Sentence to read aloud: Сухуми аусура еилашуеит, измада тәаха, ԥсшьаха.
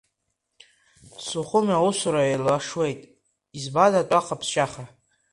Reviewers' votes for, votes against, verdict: 2, 0, accepted